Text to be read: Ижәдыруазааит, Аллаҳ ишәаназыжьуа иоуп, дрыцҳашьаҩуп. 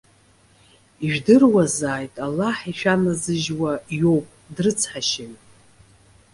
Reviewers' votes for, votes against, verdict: 2, 0, accepted